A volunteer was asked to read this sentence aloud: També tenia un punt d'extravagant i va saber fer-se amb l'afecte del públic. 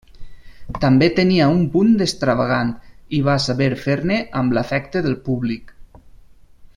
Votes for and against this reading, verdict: 0, 2, rejected